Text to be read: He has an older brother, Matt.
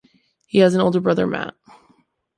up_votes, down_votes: 2, 0